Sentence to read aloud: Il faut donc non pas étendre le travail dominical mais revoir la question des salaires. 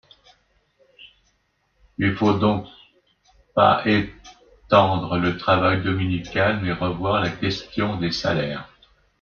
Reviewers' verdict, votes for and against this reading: rejected, 0, 2